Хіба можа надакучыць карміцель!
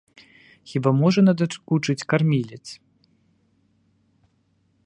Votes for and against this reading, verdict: 1, 2, rejected